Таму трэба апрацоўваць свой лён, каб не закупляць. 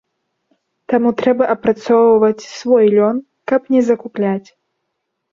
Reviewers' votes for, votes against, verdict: 3, 0, accepted